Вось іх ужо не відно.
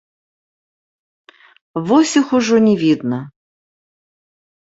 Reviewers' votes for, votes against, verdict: 0, 2, rejected